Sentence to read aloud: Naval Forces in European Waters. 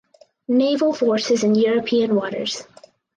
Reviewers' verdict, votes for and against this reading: accepted, 4, 0